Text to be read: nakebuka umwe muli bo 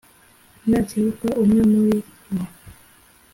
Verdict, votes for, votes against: accepted, 2, 0